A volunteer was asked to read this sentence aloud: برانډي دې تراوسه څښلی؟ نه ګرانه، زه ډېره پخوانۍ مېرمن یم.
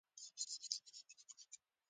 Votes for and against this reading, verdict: 0, 2, rejected